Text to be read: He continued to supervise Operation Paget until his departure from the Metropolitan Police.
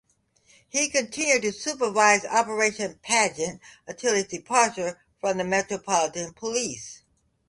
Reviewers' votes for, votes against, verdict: 3, 0, accepted